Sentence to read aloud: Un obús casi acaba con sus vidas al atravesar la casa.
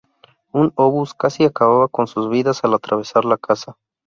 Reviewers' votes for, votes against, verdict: 0, 2, rejected